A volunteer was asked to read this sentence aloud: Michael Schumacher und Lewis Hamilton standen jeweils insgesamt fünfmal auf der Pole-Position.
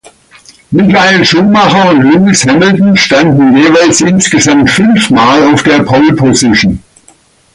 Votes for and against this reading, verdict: 2, 0, accepted